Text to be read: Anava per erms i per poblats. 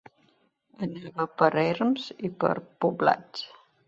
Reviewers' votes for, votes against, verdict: 0, 2, rejected